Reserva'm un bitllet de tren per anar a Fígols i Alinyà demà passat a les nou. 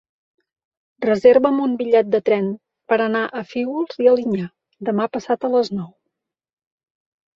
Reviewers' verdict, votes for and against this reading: accepted, 2, 0